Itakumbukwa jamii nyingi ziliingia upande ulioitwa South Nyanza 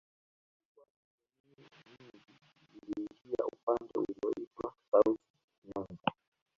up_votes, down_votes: 1, 2